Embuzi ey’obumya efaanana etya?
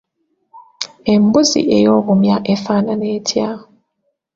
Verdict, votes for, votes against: accepted, 2, 1